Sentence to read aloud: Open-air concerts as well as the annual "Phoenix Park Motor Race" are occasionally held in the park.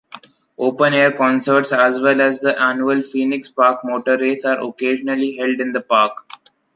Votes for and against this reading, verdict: 2, 0, accepted